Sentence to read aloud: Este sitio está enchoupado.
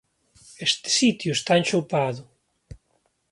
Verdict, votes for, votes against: accepted, 2, 1